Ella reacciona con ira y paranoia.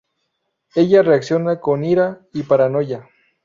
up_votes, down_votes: 0, 2